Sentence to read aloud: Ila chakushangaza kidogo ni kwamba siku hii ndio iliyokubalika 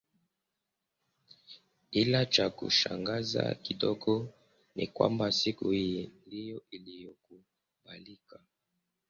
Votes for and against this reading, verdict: 0, 2, rejected